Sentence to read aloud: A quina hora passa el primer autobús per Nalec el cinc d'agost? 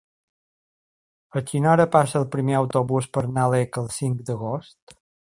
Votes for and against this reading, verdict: 3, 0, accepted